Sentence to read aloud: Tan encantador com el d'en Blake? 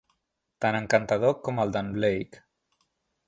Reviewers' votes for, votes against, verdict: 1, 2, rejected